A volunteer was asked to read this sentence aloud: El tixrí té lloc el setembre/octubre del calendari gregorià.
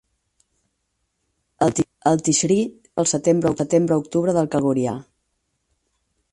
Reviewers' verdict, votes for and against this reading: rejected, 0, 6